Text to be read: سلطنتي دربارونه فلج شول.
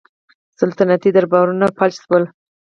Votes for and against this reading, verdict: 2, 4, rejected